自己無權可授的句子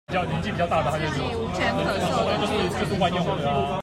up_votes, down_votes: 1, 2